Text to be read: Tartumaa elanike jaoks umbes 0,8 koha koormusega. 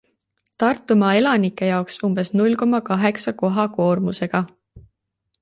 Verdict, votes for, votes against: rejected, 0, 2